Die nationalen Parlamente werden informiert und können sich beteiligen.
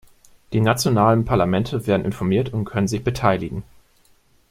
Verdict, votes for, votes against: accepted, 2, 0